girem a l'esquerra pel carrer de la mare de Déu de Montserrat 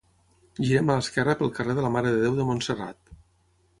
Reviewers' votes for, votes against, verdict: 6, 0, accepted